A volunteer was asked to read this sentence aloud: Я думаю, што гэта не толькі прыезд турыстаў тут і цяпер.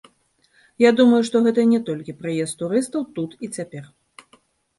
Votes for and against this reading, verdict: 2, 0, accepted